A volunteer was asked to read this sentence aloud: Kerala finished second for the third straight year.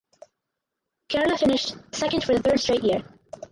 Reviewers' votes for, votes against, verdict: 0, 4, rejected